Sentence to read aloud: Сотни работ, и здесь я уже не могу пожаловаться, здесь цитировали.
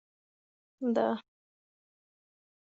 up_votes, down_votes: 0, 2